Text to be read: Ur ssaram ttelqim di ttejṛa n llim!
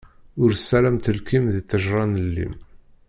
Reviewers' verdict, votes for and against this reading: rejected, 1, 2